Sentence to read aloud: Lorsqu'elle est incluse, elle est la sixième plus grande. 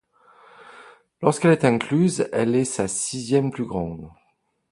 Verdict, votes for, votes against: accepted, 2, 1